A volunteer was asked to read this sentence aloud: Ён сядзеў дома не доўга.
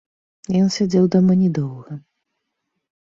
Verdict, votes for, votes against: rejected, 0, 2